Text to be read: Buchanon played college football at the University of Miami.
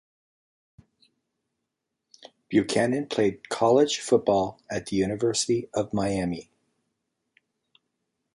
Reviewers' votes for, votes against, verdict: 2, 0, accepted